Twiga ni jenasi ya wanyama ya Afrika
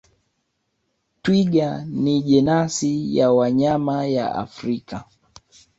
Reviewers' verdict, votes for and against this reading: accepted, 2, 0